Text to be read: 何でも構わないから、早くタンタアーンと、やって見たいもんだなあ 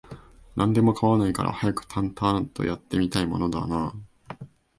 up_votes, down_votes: 2, 0